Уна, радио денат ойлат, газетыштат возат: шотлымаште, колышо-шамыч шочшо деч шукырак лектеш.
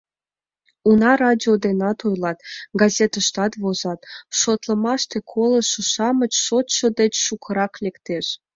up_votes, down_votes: 1, 2